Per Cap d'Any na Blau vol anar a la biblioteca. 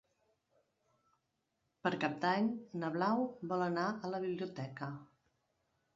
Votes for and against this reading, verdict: 3, 0, accepted